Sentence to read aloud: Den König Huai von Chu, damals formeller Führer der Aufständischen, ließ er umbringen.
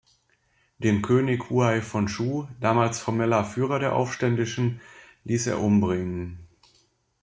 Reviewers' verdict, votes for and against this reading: accepted, 2, 0